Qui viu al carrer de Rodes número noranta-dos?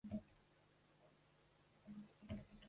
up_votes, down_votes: 0, 2